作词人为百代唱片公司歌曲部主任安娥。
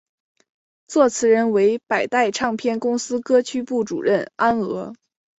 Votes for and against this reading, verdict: 2, 0, accepted